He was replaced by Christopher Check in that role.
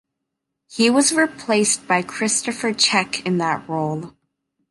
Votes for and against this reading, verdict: 2, 1, accepted